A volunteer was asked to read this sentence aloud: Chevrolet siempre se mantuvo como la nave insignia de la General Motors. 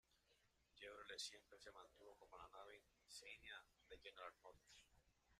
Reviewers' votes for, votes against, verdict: 0, 4, rejected